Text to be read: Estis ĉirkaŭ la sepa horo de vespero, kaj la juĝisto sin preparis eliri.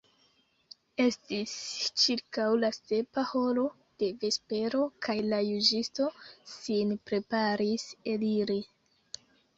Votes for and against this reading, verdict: 2, 0, accepted